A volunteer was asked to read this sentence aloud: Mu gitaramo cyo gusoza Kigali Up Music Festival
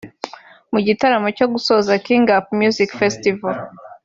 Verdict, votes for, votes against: rejected, 1, 2